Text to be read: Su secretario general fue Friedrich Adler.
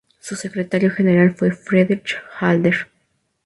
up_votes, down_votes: 2, 0